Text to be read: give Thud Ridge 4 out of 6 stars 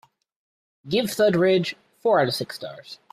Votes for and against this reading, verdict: 0, 2, rejected